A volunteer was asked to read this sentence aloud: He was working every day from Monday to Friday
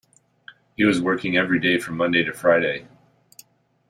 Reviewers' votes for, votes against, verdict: 2, 0, accepted